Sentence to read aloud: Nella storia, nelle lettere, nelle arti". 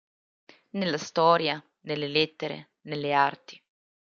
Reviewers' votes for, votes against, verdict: 2, 0, accepted